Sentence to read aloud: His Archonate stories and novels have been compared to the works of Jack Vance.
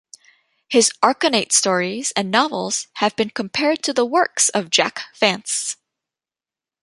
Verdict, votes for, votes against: accepted, 2, 0